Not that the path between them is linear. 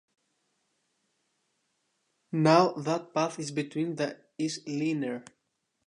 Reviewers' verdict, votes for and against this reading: rejected, 0, 2